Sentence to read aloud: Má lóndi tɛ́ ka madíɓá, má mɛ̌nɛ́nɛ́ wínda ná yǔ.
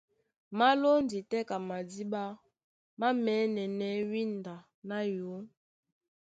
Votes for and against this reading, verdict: 0, 2, rejected